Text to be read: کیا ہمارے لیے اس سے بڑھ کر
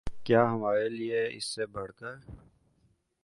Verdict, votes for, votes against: accepted, 2, 0